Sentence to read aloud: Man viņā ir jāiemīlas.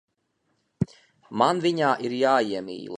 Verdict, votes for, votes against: rejected, 0, 2